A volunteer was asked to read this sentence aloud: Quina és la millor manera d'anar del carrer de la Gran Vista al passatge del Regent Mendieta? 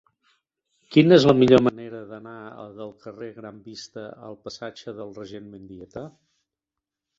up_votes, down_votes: 1, 2